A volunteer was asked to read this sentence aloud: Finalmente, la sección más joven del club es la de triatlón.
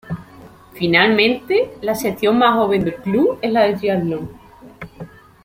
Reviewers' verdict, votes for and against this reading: accepted, 2, 0